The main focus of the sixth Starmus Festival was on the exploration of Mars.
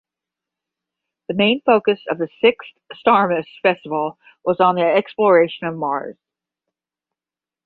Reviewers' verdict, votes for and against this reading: accepted, 5, 0